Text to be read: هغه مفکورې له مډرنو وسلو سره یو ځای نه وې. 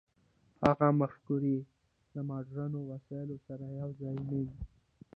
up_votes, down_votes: 0, 2